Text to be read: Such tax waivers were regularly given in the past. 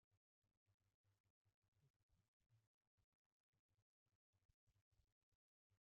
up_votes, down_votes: 0, 2